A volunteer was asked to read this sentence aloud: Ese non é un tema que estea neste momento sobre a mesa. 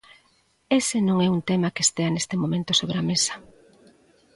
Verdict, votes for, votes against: accepted, 2, 0